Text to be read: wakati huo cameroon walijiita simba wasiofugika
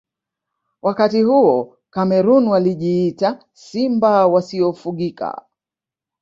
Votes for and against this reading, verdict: 3, 0, accepted